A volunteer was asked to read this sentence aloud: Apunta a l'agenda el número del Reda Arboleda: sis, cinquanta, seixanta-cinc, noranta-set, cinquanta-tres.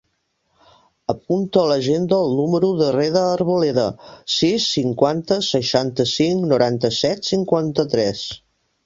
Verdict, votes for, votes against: rejected, 0, 2